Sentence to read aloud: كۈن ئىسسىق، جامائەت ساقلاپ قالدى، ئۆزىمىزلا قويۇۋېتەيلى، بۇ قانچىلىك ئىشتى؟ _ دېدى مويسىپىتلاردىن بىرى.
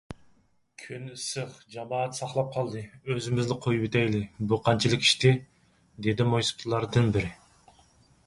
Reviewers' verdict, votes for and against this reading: accepted, 4, 0